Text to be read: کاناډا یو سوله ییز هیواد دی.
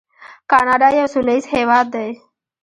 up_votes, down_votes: 2, 1